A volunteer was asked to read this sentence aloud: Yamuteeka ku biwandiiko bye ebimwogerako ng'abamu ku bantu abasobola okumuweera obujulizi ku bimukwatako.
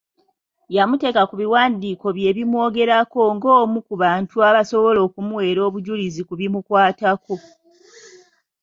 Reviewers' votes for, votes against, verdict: 1, 2, rejected